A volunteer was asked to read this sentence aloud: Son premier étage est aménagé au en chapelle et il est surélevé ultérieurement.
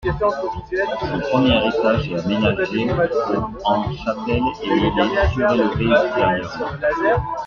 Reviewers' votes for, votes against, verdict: 2, 1, accepted